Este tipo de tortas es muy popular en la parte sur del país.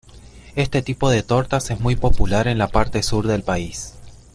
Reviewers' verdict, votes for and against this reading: accepted, 2, 0